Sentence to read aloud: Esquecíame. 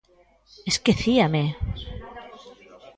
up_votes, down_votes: 0, 2